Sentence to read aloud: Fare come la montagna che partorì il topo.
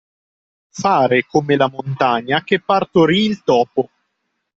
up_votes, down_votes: 2, 0